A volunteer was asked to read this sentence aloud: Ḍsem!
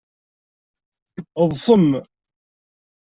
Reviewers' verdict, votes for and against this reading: accepted, 2, 0